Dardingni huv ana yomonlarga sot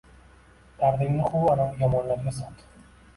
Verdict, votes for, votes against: accepted, 2, 1